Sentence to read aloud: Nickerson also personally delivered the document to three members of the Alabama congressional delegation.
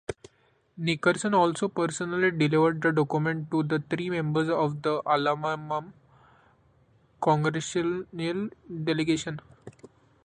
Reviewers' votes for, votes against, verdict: 1, 2, rejected